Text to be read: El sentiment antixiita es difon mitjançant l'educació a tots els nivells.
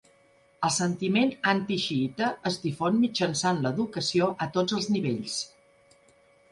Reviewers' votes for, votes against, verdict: 2, 0, accepted